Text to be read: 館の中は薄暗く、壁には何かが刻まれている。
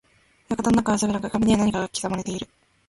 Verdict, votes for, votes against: accepted, 2, 1